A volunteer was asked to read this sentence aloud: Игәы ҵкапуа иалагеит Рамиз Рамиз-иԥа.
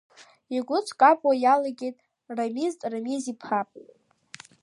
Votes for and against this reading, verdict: 2, 0, accepted